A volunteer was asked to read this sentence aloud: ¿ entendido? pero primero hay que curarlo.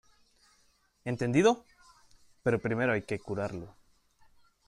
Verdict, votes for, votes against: accepted, 2, 1